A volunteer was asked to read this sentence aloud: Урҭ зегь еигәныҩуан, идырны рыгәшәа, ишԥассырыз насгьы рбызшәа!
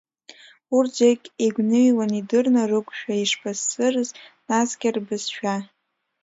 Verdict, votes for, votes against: rejected, 1, 2